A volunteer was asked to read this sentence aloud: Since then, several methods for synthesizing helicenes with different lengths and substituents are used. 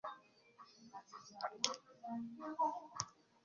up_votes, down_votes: 0, 2